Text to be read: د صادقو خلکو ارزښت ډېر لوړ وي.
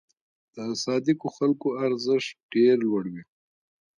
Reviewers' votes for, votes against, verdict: 2, 0, accepted